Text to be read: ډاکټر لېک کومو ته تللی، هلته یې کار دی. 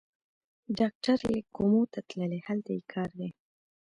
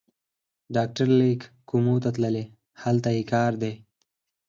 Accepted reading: second